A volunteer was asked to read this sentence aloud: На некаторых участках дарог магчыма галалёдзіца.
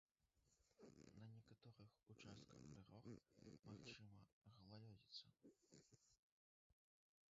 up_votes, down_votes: 0, 2